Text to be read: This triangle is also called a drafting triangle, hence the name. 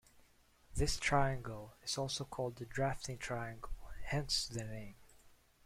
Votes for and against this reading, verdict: 2, 0, accepted